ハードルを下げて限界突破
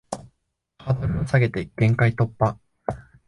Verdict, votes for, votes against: rejected, 1, 2